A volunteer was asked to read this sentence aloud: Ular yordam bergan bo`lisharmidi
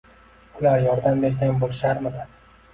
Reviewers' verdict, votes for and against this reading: accepted, 2, 0